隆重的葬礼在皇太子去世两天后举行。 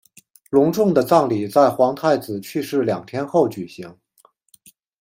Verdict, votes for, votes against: accepted, 2, 1